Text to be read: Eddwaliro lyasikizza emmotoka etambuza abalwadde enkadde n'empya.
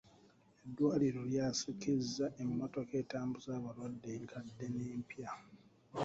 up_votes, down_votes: 1, 2